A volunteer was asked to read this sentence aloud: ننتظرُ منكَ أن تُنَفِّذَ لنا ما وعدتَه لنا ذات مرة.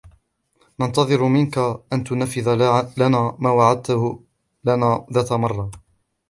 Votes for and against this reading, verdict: 0, 2, rejected